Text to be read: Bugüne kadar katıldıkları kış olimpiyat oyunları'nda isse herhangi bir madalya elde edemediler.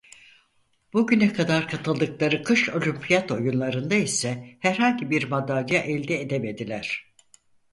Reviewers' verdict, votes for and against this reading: rejected, 2, 4